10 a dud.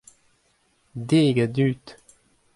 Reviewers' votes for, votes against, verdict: 0, 2, rejected